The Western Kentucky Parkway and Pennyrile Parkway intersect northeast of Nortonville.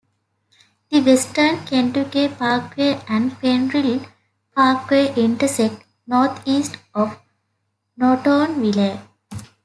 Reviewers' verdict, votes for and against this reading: rejected, 0, 2